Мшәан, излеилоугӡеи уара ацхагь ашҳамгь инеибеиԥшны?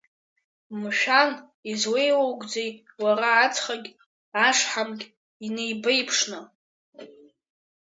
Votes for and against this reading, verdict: 2, 0, accepted